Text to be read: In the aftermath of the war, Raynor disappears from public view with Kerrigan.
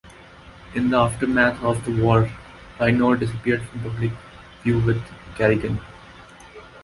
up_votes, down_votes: 4, 2